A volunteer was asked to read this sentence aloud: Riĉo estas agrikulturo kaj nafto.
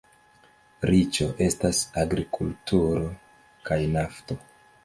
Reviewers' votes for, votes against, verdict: 2, 1, accepted